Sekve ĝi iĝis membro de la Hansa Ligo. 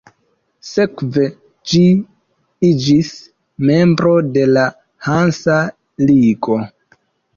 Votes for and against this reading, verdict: 2, 0, accepted